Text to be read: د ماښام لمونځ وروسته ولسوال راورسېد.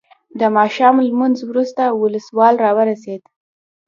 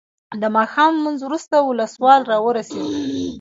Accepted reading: second